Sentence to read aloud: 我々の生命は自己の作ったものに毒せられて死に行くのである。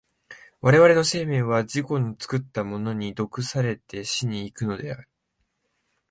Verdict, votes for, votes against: rejected, 1, 2